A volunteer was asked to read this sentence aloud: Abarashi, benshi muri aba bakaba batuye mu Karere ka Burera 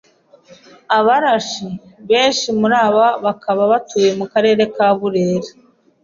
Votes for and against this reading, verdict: 2, 0, accepted